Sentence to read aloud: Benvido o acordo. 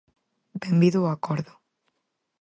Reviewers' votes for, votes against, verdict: 4, 0, accepted